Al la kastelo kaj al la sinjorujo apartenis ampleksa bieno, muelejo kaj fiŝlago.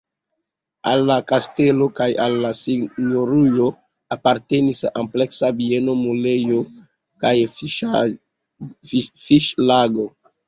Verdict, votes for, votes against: accepted, 2, 0